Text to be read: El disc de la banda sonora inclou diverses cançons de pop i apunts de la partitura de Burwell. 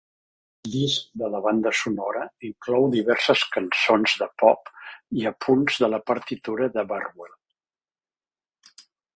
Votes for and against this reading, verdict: 2, 3, rejected